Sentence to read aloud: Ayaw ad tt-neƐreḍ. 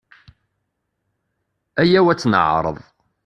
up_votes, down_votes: 2, 0